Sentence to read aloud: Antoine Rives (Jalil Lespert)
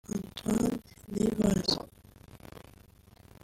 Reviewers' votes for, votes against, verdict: 0, 2, rejected